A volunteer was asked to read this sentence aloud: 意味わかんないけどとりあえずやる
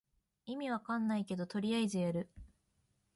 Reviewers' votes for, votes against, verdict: 1, 2, rejected